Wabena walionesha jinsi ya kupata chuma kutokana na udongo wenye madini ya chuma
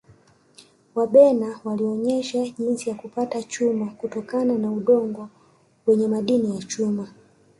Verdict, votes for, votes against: rejected, 1, 2